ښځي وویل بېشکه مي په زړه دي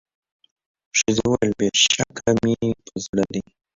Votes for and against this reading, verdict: 0, 2, rejected